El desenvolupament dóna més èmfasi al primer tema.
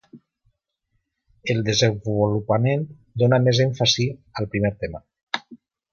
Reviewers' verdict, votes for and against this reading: rejected, 1, 2